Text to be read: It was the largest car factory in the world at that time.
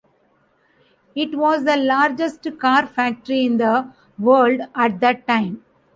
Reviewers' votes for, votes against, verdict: 2, 0, accepted